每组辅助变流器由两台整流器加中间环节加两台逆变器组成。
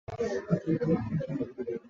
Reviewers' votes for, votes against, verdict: 0, 2, rejected